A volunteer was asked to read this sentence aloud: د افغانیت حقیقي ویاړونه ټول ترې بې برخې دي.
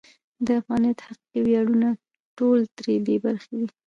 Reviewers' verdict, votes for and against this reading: rejected, 1, 2